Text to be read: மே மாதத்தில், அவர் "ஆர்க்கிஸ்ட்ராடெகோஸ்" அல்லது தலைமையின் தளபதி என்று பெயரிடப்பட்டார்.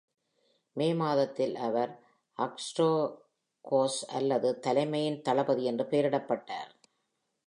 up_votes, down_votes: 1, 2